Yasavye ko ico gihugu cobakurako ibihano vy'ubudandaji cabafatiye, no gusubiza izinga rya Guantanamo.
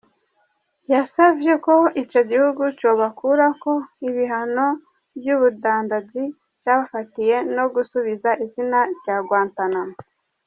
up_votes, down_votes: 0, 2